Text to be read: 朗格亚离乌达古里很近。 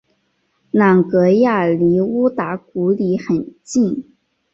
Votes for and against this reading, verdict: 2, 0, accepted